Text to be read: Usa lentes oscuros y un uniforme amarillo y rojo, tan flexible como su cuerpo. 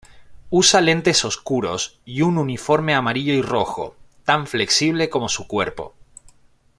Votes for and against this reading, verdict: 2, 0, accepted